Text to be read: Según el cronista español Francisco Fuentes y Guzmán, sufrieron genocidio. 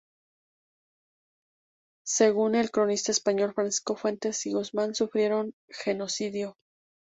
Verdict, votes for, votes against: rejected, 0, 2